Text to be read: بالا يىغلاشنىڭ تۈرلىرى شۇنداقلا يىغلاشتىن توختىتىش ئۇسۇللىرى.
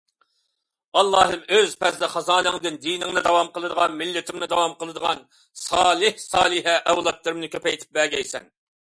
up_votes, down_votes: 0, 2